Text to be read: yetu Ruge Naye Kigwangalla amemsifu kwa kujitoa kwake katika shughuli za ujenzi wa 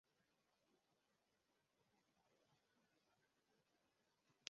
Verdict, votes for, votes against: rejected, 0, 2